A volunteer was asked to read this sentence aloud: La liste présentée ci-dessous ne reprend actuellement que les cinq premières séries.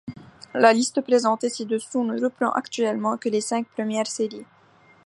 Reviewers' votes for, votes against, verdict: 2, 1, accepted